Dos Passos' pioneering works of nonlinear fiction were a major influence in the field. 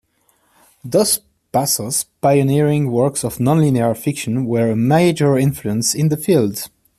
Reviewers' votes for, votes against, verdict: 2, 0, accepted